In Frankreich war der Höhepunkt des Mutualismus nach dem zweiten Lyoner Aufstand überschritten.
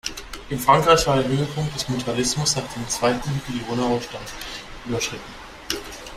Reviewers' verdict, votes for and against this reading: accepted, 2, 1